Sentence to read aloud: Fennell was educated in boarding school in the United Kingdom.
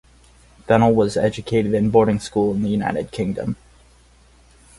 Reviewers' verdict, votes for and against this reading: accepted, 4, 0